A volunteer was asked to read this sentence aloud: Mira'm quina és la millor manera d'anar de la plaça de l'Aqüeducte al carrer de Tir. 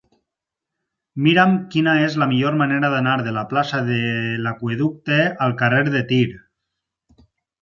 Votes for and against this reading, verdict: 2, 4, rejected